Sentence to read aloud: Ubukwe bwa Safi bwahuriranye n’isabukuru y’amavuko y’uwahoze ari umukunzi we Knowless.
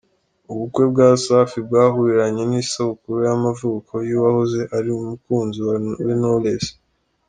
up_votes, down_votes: 2, 3